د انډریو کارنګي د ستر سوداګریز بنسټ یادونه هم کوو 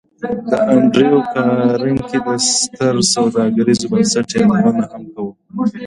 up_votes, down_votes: 2, 1